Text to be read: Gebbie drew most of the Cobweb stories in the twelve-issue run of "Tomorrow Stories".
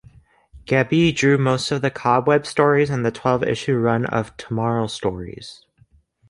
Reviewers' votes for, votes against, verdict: 2, 0, accepted